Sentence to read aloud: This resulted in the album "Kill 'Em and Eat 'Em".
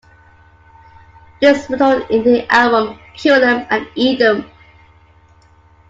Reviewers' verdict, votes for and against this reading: rejected, 1, 2